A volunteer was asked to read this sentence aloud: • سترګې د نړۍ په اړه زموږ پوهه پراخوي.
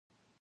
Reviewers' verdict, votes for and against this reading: rejected, 0, 2